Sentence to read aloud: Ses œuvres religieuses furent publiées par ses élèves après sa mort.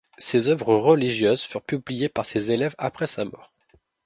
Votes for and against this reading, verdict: 2, 0, accepted